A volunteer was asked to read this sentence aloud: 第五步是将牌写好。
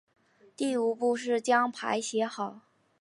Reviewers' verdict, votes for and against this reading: accepted, 3, 1